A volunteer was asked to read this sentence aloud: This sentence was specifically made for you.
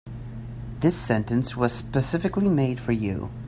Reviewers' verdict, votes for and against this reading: accepted, 2, 0